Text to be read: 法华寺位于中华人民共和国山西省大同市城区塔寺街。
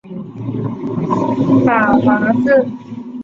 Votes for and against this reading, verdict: 0, 3, rejected